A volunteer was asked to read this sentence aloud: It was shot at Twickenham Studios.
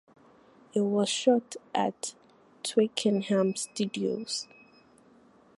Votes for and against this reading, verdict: 4, 0, accepted